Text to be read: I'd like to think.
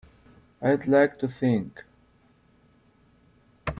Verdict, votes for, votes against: accepted, 2, 1